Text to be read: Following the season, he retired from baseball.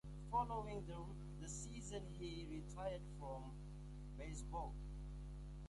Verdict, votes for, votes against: rejected, 1, 2